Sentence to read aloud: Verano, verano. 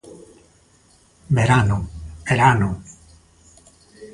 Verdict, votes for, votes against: accepted, 2, 0